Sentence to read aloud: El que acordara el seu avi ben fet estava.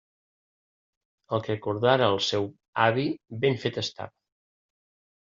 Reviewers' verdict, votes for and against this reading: rejected, 1, 2